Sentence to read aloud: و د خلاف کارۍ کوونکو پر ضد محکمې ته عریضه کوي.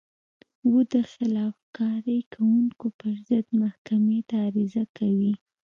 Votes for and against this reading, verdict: 2, 0, accepted